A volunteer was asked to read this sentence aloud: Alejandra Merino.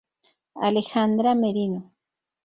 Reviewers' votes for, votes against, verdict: 0, 2, rejected